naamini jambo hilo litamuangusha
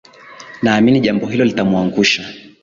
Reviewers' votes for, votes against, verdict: 2, 3, rejected